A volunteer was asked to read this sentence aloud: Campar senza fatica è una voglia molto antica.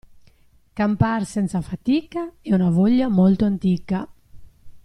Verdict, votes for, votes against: accepted, 2, 0